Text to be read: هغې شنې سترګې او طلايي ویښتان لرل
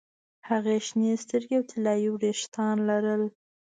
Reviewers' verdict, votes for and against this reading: accepted, 2, 0